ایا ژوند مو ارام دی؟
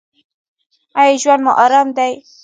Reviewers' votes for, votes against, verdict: 1, 2, rejected